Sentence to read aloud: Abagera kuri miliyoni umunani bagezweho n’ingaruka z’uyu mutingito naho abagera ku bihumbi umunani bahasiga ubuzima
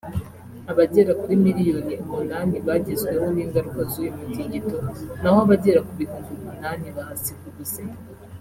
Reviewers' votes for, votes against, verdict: 2, 0, accepted